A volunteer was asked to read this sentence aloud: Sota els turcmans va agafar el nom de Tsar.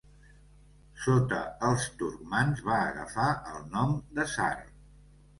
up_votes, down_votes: 2, 0